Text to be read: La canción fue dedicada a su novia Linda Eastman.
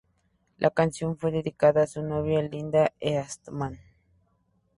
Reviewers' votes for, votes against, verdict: 0, 2, rejected